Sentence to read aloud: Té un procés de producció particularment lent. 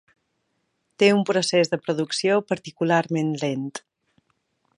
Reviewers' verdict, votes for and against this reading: accepted, 3, 0